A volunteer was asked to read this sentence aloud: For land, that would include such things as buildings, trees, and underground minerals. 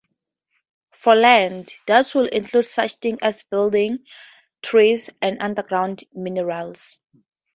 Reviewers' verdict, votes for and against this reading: accepted, 2, 0